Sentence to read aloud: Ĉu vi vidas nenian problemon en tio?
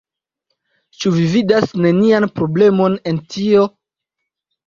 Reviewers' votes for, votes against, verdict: 2, 0, accepted